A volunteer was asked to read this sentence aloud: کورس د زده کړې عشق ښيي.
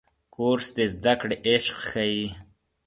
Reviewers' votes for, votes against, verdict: 2, 0, accepted